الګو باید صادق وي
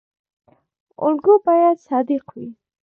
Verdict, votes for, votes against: accepted, 2, 0